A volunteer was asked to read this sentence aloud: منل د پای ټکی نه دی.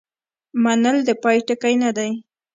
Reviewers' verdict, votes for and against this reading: accepted, 2, 0